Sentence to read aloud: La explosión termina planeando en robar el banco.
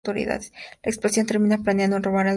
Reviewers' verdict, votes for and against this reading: rejected, 0, 2